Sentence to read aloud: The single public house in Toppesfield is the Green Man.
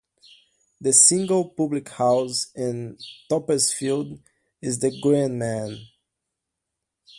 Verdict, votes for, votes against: accepted, 2, 0